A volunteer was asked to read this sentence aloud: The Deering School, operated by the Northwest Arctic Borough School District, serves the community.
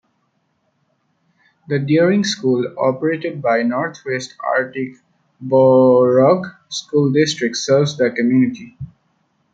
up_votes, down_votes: 0, 2